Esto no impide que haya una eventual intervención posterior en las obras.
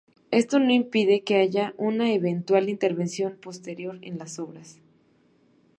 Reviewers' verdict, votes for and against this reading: accepted, 2, 0